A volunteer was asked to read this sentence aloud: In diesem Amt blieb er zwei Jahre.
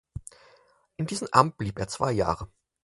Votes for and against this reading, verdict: 4, 0, accepted